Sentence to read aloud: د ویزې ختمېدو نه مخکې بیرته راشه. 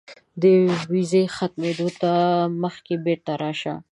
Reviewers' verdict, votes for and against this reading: rejected, 1, 2